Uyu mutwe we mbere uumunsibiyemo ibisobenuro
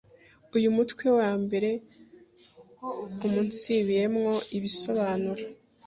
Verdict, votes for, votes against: rejected, 0, 2